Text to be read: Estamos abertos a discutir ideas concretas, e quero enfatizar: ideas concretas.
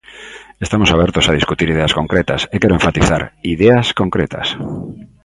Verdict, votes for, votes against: accepted, 2, 1